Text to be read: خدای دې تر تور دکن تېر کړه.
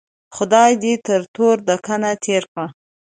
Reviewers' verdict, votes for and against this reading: accepted, 2, 0